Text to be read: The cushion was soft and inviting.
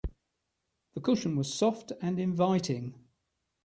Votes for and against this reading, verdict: 3, 0, accepted